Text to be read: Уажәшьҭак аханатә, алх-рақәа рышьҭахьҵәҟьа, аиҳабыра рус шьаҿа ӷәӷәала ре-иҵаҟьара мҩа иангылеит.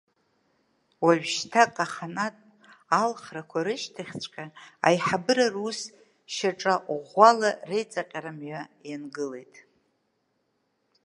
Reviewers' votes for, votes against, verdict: 1, 2, rejected